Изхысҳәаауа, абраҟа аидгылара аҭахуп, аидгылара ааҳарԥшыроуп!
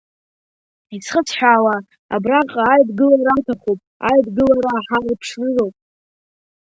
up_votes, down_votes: 0, 2